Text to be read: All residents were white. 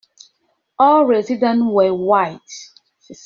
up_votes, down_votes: 1, 2